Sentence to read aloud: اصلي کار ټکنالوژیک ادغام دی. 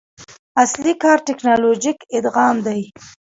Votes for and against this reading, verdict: 2, 0, accepted